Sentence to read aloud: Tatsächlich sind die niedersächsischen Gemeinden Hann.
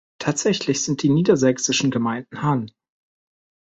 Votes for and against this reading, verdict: 2, 0, accepted